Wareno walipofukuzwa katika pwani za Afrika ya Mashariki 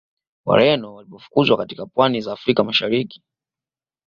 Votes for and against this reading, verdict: 2, 0, accepted